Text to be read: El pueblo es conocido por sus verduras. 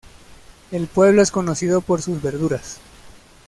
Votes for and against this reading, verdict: 2, 0, accepted